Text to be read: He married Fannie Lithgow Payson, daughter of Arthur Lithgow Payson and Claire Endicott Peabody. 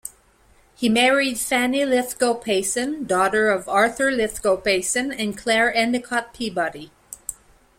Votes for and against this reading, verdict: 2, 0, accepted